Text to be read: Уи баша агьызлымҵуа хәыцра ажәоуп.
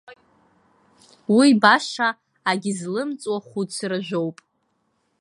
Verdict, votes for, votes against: rejected, 0, 2